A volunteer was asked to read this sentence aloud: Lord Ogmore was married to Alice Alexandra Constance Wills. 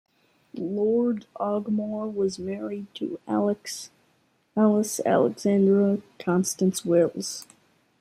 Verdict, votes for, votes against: rejected, 0, 2